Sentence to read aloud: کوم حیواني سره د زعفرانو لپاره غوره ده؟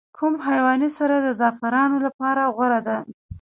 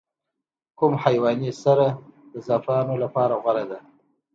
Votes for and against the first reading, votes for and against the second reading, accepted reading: 1, 2, 2, 0, second